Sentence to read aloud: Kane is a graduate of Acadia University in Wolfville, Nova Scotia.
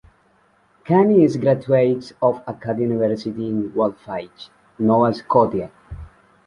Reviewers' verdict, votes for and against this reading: rejected, 0, 2